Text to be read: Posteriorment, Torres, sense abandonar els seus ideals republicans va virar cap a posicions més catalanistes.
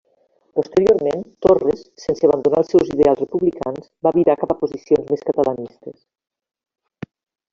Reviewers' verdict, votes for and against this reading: accepted, 2, 1